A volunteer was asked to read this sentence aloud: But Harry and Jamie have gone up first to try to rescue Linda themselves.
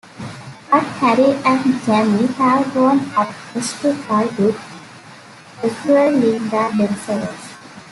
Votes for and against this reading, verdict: 1, 2, rejected